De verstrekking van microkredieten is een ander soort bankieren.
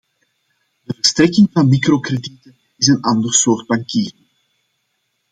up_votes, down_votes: 0, 2